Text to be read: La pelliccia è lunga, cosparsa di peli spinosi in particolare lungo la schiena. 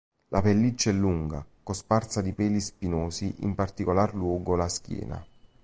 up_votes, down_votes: 1, 3